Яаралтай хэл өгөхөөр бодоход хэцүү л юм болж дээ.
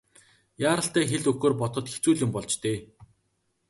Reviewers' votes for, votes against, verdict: 2, 0, accepted